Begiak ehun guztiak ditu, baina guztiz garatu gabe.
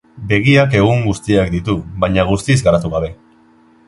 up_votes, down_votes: 2, 0